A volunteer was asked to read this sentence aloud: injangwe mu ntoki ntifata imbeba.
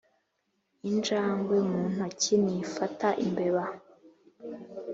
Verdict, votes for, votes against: accepted, 2, 0